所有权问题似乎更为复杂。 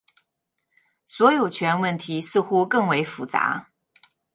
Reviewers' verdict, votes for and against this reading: accepted, 2, 1